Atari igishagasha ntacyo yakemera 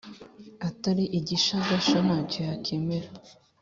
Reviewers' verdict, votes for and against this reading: accepted, 2, 0